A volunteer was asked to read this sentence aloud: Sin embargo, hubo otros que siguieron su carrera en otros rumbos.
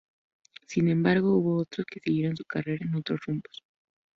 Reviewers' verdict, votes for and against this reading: rejected, 0, 2